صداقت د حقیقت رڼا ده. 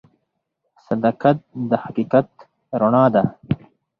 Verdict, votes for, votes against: accepted, 4, 0